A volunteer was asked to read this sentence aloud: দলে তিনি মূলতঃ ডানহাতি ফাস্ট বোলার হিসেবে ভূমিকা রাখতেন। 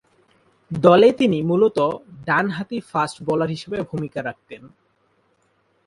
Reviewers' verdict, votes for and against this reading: accepted, 6, 0